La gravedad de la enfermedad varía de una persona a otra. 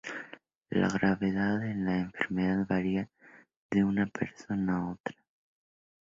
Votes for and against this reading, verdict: 2, 0, accepted